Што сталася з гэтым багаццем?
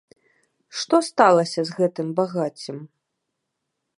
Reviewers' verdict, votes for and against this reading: accepted, 2, 0